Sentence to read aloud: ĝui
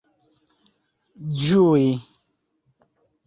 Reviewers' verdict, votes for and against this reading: accepted, 2, 0